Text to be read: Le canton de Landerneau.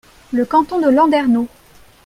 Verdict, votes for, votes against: accepted, 2, 0